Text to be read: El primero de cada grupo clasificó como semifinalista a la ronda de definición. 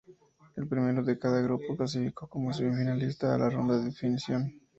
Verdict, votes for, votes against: accepted, 2, 0